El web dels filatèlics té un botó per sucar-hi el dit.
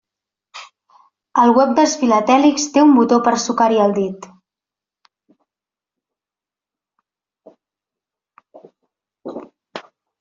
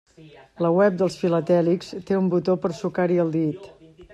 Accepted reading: first